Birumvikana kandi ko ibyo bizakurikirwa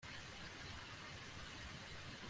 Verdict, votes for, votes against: rejected, 0, 2